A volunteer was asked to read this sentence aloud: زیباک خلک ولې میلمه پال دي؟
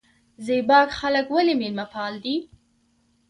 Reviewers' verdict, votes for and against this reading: accepted, 3, 0